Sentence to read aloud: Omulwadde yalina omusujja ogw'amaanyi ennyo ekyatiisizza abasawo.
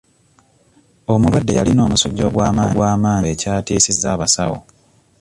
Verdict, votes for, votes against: rejected, 1, 2